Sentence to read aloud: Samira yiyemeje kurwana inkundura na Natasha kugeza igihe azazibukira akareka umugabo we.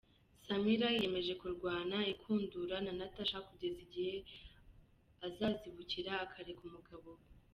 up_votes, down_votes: 2, 0